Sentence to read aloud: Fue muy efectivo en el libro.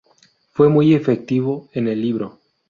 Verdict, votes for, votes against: rejected, 0, 2